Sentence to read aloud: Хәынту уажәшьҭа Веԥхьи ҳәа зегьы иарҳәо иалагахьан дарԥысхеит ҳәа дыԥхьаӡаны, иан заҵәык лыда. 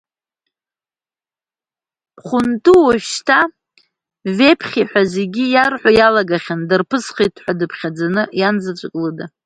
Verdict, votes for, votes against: accepted, 2, 0